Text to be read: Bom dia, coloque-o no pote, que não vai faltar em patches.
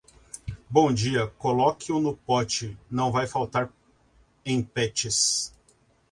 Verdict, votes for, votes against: accepted, 2, 0